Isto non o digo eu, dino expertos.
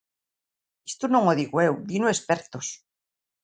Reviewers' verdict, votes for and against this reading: accepted, 2, 1